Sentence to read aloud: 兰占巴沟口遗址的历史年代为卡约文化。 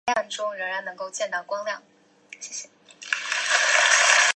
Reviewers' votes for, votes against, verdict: 2, 2, rejected